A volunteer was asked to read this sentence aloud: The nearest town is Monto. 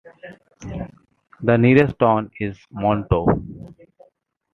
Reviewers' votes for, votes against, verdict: 2, 1, accepted